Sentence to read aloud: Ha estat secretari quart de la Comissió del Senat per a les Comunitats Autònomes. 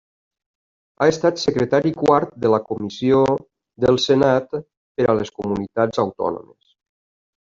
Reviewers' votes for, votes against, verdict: 3, 0, accepted